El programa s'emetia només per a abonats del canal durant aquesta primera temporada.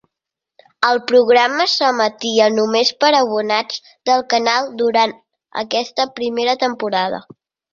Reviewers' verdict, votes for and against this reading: accepted, 3, 1